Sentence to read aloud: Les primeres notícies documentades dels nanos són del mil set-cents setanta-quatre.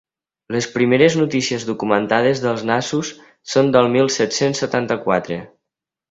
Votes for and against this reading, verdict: 1, 2, rejected